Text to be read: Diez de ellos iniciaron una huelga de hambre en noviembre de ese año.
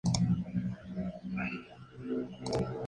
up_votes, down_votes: 0, 2